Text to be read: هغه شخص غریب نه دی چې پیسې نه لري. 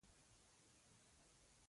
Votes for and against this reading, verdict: 0, 2, rejected